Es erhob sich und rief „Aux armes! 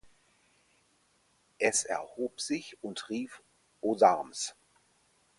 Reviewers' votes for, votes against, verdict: 2, 4, rejected